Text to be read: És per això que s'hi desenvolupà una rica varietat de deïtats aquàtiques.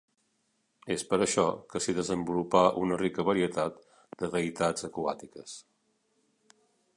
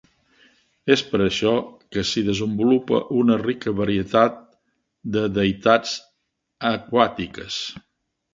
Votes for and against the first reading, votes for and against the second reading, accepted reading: 3, 0, 1, 2, first